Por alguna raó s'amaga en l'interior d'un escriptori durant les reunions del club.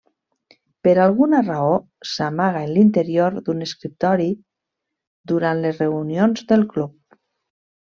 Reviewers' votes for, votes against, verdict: 1, 2, rejected